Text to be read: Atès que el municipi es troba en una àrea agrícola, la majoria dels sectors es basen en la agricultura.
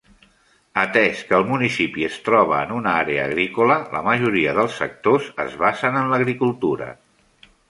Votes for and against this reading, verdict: 2, 1, accepted